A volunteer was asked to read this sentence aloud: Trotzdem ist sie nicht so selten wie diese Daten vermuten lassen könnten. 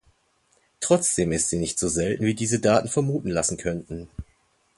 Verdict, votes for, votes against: accepted, 2, 0